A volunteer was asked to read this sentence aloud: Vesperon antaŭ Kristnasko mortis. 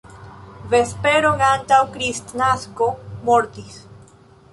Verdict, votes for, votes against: accepted, 2, 0